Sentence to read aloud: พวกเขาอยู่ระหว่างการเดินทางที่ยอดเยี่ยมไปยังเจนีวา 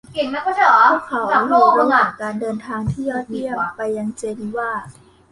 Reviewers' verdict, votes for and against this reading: rejected, 0, 2